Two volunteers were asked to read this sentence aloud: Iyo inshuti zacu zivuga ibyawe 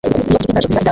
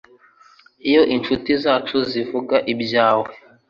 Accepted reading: second